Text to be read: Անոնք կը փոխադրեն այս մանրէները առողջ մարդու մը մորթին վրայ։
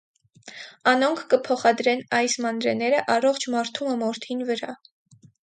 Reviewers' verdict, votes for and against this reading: accepted, 4, 0